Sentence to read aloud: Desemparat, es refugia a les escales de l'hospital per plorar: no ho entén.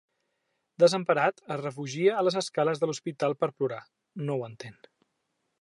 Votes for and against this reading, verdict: 3, 0, accepted